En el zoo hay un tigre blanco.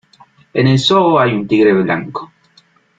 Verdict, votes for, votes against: accepted, 2, 0